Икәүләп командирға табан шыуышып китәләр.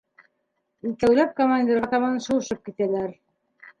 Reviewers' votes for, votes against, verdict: 2, 0, accepted